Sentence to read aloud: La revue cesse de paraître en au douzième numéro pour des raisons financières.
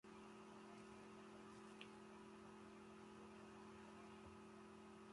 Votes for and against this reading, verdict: 0, 2, rejected